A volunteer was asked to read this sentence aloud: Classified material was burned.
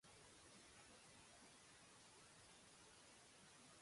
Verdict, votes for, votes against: rejected, 0, 2